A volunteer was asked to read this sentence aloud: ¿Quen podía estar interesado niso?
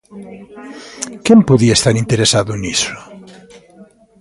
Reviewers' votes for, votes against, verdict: 2, 0, accepted